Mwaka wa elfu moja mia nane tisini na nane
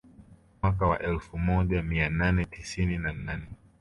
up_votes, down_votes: 2, 0